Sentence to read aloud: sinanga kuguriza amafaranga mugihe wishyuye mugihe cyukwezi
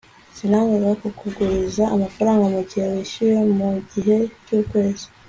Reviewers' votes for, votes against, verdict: 2, 0, accepted